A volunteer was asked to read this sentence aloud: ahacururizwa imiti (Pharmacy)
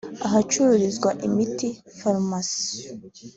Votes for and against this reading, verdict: 2, 0, accepted